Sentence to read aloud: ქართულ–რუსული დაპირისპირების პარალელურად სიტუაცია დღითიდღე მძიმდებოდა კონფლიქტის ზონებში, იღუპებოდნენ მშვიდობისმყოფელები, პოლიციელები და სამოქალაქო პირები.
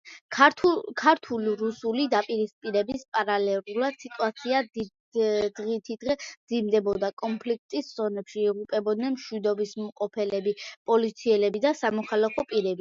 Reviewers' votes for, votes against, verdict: 2, 0, accepted